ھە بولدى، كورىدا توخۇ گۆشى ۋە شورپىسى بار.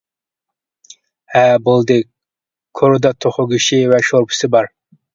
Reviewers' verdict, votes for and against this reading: accepted, 2, 0